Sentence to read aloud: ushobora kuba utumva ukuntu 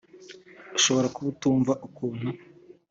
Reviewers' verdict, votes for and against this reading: accepted, 2, 0